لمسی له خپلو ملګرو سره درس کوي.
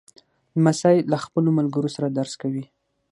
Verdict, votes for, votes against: accepted, 6, 0